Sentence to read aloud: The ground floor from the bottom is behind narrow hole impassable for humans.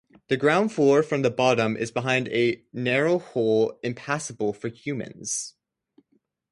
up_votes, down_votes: 2, 2